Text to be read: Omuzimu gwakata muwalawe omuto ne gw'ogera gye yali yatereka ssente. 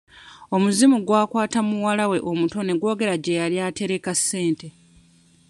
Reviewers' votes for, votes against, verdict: 1, 2, rejected